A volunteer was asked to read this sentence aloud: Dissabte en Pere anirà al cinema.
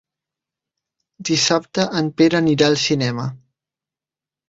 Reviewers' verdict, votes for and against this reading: accepted, 5, 0